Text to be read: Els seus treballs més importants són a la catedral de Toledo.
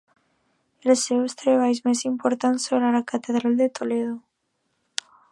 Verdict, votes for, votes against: accepted, 2, 0